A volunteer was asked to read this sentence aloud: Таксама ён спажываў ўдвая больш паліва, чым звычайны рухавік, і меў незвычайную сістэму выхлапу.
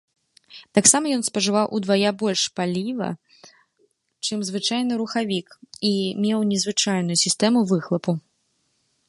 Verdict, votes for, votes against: rejected, 0, 2